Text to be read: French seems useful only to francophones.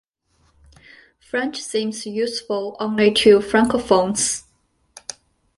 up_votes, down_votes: 2, 0